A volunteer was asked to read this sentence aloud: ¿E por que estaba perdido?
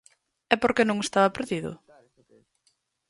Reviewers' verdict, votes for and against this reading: rejected, 0, 4